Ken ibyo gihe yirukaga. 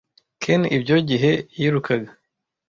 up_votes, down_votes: 2, 1